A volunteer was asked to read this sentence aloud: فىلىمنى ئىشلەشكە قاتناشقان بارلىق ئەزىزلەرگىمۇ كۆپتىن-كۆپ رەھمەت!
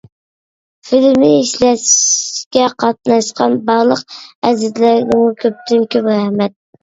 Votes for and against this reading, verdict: 1, 2, rejected